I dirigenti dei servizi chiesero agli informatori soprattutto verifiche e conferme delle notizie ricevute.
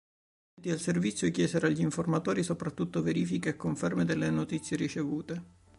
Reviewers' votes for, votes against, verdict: 0, 2, rejected